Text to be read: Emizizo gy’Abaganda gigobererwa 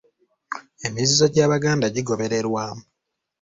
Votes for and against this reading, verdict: 2, 0, accepted